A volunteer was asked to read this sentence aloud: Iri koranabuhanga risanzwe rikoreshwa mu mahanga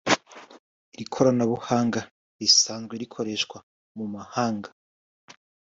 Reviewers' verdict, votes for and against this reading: accepted, 2, 0